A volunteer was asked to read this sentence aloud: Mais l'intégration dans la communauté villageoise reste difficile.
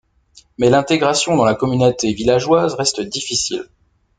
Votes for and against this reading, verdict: 0, 2, rejected